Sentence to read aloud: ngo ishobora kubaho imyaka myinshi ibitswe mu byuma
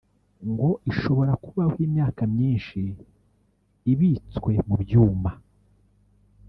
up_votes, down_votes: 1, 2